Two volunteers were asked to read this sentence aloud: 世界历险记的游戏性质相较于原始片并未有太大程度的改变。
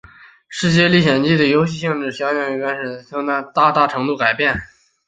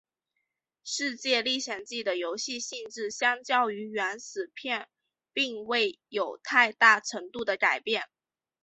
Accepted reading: second